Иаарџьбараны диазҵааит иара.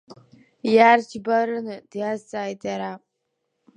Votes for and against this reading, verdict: 0, 3, rejected